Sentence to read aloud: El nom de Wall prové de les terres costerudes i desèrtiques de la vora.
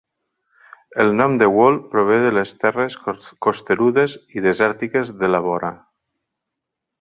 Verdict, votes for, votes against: rejected, 0, 2